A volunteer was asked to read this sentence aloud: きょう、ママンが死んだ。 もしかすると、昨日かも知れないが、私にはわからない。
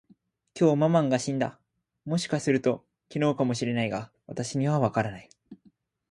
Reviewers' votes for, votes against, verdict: 4, 0, accepted